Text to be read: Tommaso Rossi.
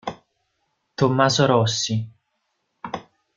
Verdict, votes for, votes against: accepted, 2, 0